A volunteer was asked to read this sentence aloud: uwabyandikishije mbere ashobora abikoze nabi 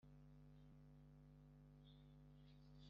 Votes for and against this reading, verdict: 3, 2, accepted